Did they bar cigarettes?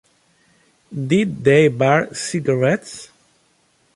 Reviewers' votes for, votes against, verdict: 2, 0, accepted